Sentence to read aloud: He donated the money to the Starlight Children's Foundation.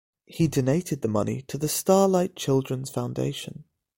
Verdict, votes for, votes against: accepted, 2, 0